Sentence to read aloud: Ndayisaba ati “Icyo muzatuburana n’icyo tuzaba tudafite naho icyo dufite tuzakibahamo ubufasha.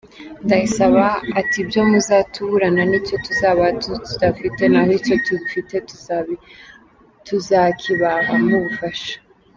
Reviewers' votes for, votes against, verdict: 0, 2, rejected